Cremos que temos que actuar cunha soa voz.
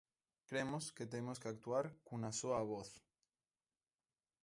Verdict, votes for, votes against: accepted, 2, 0